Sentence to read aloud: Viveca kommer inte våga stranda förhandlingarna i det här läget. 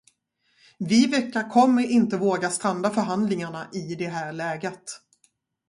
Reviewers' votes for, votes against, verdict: 2, 0, accepted